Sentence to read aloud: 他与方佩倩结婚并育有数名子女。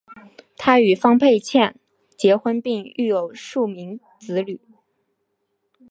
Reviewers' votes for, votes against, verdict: 2, 1, accepted